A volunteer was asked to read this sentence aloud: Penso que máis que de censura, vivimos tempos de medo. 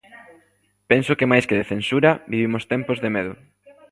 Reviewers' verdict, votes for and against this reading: rejected, 1, 2